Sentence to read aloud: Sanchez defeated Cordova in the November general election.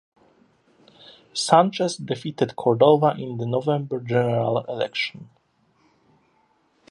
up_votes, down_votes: 2, 0